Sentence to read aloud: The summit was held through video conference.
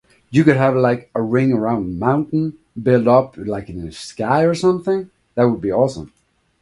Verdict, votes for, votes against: rejected, 1, 2